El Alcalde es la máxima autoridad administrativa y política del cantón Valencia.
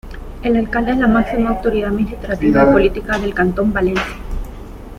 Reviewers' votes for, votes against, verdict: 2, 1, accepted